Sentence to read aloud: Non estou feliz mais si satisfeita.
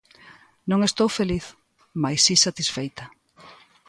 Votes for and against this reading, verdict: 2, 0, accepted